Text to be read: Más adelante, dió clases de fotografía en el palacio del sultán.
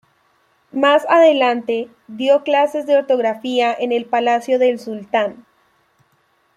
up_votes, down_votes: 0, 2